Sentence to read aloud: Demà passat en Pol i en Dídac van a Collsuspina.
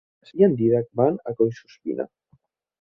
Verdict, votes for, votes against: rejected, 0, 3